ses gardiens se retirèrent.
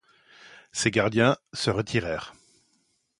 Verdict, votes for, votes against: accepted, 2, 0